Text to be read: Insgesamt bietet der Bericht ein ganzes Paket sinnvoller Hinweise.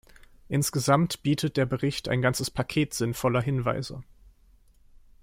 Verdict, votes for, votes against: accepted, 2, 0